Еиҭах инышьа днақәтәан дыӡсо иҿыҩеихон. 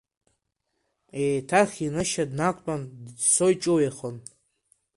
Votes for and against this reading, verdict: 2, 0, accepted